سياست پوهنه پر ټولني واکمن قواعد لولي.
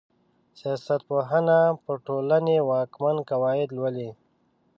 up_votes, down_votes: 2, 0